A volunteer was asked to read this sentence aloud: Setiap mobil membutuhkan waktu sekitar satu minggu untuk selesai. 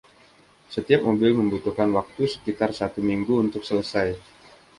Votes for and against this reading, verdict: 2, 1, accepted